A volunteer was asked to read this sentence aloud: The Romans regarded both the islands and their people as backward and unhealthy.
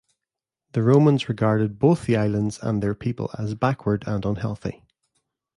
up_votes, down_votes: 2, 1